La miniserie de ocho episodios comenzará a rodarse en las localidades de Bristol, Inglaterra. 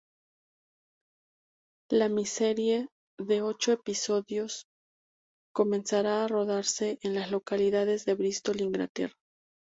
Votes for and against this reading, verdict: 0, 4, rejected